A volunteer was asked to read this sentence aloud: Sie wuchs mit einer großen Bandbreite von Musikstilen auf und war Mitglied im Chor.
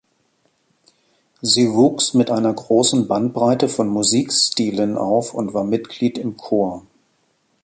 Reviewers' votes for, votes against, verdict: 2, 0, accepted